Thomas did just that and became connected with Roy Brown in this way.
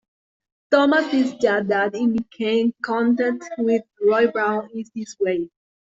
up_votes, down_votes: 0, 2